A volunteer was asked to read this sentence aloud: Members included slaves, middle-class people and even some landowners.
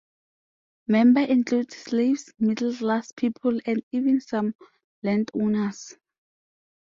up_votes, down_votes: 0, 2